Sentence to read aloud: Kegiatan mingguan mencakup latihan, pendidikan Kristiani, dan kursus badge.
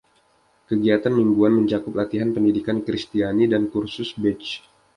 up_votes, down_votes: 2, 0